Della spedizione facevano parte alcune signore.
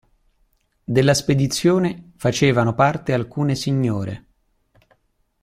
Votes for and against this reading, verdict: 2, 0, accepted